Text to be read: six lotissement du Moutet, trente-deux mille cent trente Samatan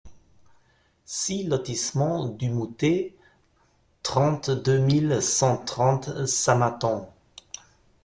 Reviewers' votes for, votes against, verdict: 2, 0, accepted